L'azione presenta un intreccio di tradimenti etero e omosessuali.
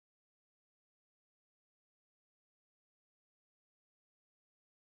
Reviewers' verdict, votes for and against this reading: rejected, 0, 2